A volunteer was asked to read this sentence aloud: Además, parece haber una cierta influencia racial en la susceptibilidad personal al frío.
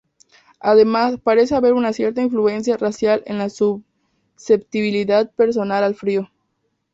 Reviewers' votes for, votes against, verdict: 4, 0, accepted